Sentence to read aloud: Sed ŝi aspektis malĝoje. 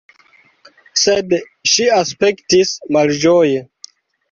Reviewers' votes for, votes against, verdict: 2, 1, accepted